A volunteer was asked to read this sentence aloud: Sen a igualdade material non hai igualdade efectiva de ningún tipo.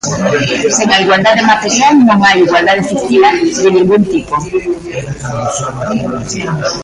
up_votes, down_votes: 0, 2